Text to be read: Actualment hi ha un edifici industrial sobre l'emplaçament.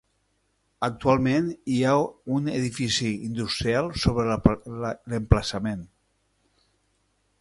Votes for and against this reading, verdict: 0, 2, rejected